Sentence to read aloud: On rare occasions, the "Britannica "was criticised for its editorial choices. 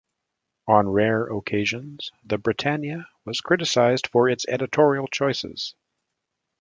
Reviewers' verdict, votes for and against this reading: rejected, 1, 2